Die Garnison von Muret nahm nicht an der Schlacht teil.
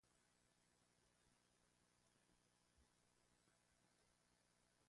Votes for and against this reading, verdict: 0, 2, rejected